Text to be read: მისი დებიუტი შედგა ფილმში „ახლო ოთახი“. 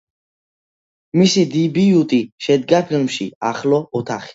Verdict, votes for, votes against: rejected, 0, 2